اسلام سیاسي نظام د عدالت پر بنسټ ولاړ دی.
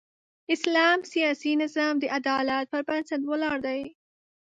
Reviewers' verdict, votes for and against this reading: accepted, 2, 0